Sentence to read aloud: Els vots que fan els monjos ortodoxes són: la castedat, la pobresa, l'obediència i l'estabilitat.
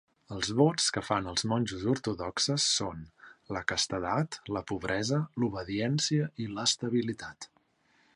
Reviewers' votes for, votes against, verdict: 2, 0, accepted